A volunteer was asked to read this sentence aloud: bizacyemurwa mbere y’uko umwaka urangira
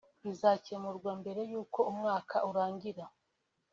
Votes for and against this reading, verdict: 4, 0, accepted